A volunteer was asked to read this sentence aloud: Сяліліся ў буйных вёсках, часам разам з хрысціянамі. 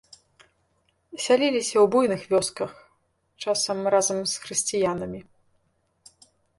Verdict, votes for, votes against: rejected, 0, 2